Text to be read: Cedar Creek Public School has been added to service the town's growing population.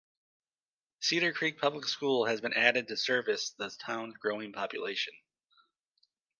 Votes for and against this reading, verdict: 2, 1, accepted